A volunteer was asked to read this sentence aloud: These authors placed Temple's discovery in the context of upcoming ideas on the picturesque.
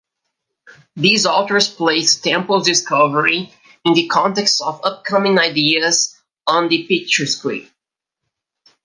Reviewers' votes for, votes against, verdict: 1, 2, rejected